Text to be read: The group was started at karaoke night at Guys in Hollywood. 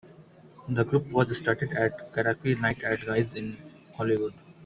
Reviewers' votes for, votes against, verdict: 1, 2, rejected